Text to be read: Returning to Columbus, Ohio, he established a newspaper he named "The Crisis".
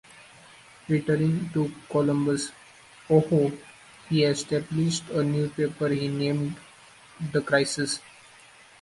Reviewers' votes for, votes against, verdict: 2, 1, accepted